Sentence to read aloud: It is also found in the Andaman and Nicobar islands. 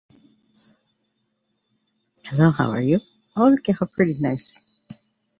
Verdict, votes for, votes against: rejected, 0, 2